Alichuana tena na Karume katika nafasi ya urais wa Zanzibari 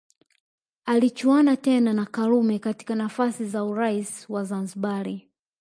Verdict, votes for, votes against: rejected, 2, 3